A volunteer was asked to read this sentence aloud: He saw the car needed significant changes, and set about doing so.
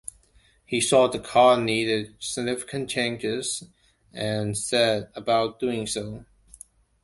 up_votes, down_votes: 3, 0